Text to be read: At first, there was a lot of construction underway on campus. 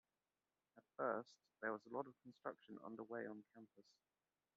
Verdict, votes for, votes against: accepted, 2, 0